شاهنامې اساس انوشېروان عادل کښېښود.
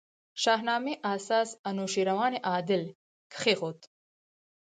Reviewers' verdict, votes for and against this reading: accepted, 4, 0